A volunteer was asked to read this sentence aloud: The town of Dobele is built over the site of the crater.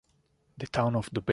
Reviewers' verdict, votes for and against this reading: rejected, 0, 2